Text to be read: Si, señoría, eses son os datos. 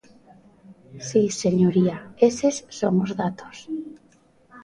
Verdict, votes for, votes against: rejected, 1, 2